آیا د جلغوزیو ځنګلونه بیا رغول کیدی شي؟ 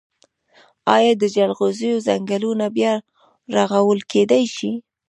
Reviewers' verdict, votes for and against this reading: rejected, 1, 2